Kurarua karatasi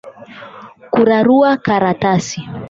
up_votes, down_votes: 8, 0